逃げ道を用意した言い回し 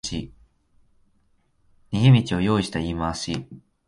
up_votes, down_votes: 1, 2